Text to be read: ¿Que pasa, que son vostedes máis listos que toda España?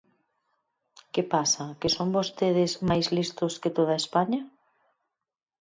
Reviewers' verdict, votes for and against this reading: accepted, 4, 0